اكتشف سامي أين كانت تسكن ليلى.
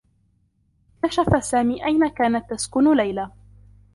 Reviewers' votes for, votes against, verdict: 0, 2, rejected